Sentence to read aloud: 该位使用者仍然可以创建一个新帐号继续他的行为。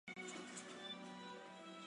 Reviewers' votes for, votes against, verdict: 0, 2, rejected